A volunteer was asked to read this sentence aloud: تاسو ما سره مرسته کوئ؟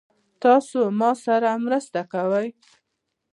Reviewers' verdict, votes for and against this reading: rejected, 0, 2